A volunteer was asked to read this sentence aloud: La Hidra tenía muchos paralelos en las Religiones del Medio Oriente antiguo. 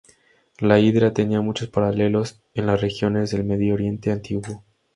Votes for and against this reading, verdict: 0, 4, rejected